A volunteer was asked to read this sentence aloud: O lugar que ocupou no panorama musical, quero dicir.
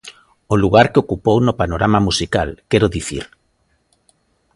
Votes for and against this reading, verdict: 2, 0, accepted